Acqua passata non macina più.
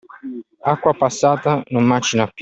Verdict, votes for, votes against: accepted, 2, 1